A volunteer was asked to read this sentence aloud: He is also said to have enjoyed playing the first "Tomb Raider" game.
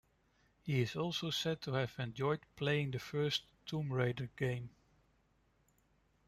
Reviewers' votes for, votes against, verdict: 2, 0, accepted